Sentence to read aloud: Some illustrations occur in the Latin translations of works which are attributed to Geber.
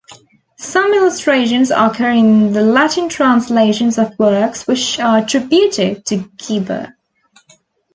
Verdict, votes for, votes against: rejected, 1, 2